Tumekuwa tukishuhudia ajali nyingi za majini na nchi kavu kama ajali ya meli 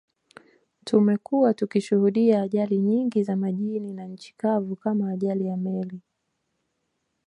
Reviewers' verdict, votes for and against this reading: accepted, 2, 0